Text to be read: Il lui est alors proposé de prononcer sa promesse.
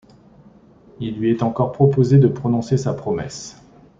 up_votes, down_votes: 1, 2